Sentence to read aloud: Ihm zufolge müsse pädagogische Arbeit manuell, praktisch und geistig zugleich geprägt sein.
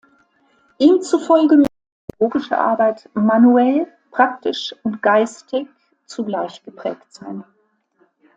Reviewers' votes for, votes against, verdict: 0, 2, rejected